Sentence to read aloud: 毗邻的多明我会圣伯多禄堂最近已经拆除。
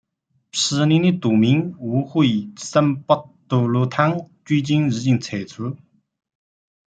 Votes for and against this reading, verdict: 0, 2, rejected